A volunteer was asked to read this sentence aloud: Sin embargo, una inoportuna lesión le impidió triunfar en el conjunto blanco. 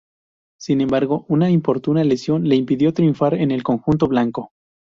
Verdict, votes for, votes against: rejected, 0, 2